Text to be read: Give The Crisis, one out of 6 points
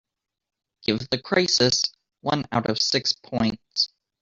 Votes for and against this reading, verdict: 0, 2, rejected